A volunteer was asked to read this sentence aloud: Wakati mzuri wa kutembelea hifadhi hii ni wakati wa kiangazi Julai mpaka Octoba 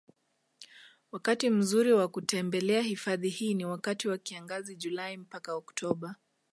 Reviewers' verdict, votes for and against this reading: accepted, 2, 0